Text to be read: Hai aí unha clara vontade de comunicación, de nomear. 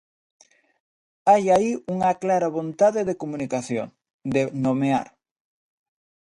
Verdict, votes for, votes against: accepted, 2, 1